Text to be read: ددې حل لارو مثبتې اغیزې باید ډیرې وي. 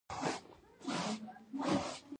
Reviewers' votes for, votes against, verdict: 0, 2, rejected